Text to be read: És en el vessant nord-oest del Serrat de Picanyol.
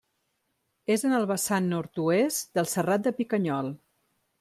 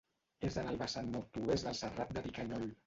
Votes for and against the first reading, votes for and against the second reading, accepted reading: 3, 0, 1, 2, first